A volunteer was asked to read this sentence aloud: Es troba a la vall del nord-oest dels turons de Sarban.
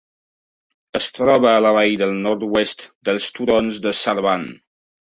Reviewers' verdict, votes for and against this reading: rejected, 1, 2